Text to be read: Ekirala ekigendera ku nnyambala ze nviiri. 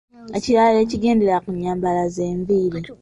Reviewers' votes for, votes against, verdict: 2, 0, accepted